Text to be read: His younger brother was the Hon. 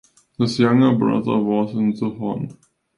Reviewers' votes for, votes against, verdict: 0, 2, rejected